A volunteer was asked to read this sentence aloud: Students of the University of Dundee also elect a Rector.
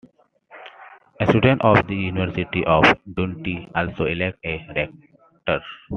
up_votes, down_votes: 2, 0